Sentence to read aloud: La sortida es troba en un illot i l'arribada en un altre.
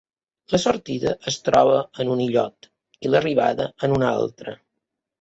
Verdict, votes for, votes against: accepted, 3, 0